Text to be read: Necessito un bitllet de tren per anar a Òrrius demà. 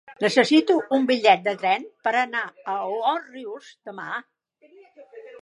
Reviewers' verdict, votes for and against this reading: accepted, 2, 0